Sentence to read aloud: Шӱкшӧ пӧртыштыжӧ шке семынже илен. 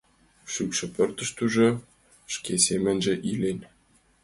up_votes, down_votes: 2, 0